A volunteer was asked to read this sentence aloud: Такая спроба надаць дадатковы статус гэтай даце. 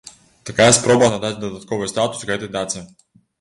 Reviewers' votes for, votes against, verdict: 2, 1, accepted